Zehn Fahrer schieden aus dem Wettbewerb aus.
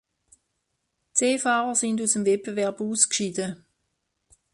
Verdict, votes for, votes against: rejected, 0, 2